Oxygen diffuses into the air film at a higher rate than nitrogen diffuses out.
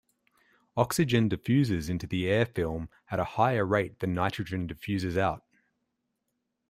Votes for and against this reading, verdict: 2, 0, accepted